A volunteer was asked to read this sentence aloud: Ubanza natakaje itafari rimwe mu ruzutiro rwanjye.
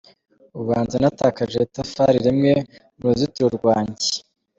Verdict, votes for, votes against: accepted, 2, 0